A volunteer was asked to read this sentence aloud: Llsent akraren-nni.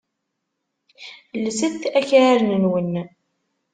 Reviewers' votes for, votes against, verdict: 1, 2, rejected